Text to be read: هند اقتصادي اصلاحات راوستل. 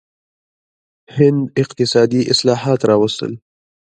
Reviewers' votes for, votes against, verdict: 0, 2, rejected